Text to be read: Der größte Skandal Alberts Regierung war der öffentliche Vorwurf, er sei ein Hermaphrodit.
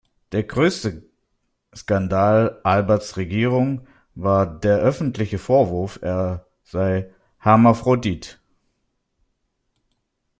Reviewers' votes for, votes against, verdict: 1, 2, rejected